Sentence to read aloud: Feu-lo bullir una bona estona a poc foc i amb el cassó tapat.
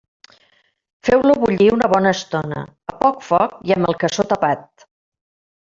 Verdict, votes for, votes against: rejected, 1, 2